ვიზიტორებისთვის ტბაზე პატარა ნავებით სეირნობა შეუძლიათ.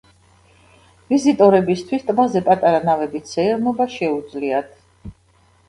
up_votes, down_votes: 1, 2